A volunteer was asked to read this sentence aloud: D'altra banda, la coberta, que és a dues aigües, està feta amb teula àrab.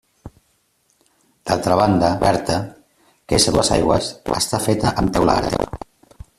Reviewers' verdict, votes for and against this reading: rejected, 0, 2